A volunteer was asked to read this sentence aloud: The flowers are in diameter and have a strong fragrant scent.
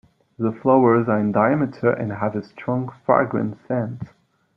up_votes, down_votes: 0, 2